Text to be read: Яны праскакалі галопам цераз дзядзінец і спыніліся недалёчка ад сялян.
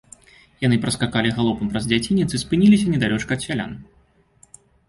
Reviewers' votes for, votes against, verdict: 2, 0, accepted